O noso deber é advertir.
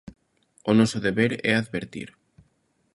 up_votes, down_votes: 2, 0